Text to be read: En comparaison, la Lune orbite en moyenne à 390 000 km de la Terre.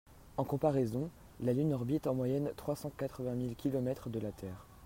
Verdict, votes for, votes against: rejected, 0, 2